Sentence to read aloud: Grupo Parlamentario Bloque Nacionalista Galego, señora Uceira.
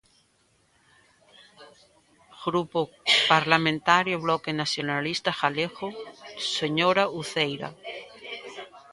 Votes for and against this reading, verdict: 2, 0, accepted